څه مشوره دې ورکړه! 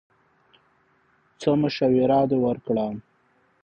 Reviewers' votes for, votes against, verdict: 2, 0, accepted